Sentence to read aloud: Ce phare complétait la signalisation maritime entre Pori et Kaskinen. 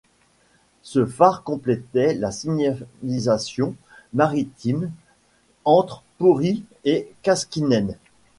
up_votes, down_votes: 1, 2